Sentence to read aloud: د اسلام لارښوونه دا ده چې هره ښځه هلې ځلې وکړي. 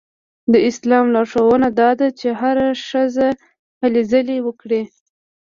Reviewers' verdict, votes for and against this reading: accepted, 2, 0